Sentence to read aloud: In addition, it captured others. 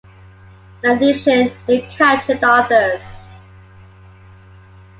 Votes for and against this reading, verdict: 2, 1, accepted